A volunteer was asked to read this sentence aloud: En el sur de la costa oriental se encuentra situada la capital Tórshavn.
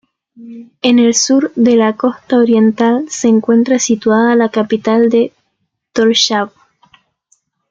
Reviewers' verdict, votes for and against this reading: rejected, 1, 2